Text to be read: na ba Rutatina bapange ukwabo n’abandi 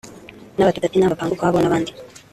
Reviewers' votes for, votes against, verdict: 1, 2, rejected